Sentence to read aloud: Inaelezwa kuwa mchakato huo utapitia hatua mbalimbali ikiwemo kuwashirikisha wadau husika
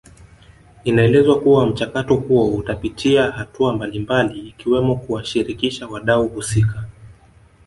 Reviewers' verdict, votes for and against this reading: rejected, 0, 2